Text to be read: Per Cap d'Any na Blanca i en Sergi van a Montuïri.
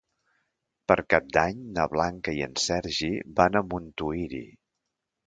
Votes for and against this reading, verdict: 2, 0, accepted